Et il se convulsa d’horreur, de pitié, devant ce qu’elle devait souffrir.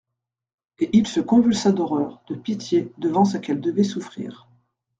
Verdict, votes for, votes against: accepted, 2, 0